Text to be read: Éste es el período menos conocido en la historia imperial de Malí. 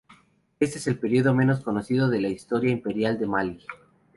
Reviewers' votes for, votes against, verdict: 0, 2, rejected